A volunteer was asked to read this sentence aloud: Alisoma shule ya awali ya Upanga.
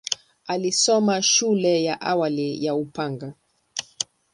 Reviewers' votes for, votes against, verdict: 4, 1, accepted